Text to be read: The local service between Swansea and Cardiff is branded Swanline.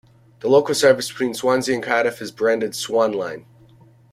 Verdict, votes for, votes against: accepted, 2, 0